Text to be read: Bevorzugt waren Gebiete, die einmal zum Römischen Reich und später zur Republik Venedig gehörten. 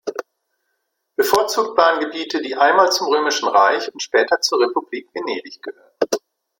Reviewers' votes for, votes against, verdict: 1, 2, rejected